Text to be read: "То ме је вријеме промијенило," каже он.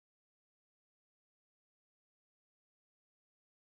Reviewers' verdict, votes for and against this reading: rejected, 0, 2